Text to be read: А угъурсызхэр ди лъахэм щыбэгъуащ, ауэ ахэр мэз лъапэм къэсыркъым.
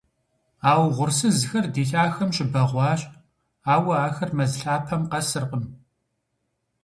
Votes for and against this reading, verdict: 2, 0, accepted